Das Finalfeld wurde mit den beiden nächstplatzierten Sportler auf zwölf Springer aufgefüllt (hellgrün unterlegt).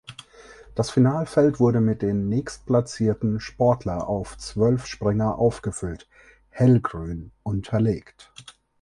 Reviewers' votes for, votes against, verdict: 0, 4, rejected